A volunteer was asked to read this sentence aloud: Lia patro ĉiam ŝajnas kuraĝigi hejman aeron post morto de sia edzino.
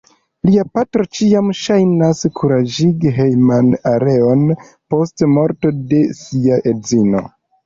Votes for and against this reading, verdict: 2, 1, accepted